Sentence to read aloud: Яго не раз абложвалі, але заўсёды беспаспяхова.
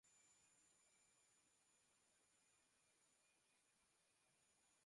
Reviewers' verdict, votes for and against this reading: rejected, 0, 2